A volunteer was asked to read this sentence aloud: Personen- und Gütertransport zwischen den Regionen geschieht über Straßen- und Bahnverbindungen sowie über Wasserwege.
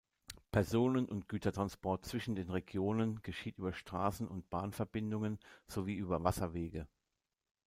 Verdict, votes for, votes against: accepted, 2, 0